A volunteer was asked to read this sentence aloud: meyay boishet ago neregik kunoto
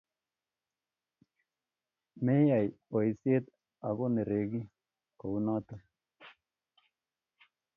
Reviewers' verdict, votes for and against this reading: accepted, 2, 0